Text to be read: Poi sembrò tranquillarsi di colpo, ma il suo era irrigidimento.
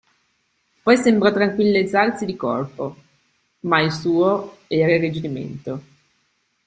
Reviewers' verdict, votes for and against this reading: rejected, 1, 3